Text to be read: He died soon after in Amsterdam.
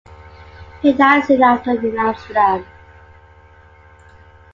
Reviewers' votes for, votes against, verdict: 2, 0, accepted